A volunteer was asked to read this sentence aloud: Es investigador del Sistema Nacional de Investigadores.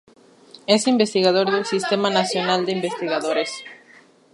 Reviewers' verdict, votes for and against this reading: rejected, 0, 2